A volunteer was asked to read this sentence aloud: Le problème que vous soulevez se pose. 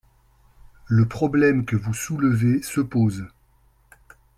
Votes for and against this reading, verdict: 4, 0, accepted